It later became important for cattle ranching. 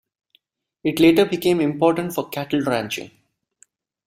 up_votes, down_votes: 2, 0